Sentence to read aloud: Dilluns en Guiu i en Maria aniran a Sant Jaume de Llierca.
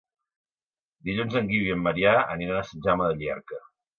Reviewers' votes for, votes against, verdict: 2, 0, accepted